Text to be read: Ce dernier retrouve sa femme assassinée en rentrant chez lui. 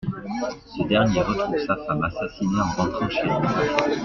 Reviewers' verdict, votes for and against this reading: accepted, 2, 0